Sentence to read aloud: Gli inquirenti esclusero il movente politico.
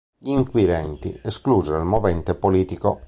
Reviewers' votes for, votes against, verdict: 2, 0, accepted